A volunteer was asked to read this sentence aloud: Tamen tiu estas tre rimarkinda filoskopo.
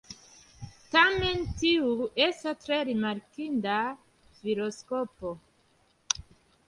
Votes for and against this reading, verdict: 2, 0, accepted